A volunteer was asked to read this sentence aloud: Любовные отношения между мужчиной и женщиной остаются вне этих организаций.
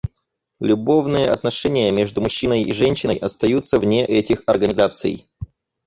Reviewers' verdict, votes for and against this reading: accepted, 4, 0